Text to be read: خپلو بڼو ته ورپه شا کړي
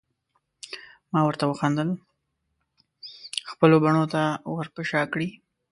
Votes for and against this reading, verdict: 1, 2, rejected